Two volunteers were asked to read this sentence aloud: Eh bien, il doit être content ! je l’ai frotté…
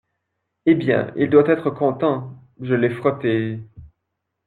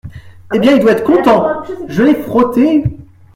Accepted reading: first